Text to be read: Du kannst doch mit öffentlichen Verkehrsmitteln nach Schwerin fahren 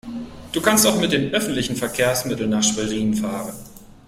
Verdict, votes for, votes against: rejected, 1, 3